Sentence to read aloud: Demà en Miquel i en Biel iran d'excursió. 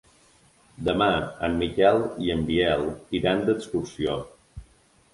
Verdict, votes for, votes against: accepted, 3, 0